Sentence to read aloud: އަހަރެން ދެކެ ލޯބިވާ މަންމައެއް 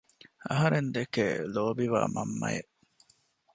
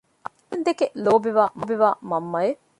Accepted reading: first